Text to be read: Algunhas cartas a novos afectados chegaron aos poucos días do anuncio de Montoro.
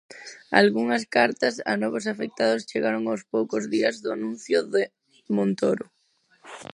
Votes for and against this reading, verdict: 4, 0, accepted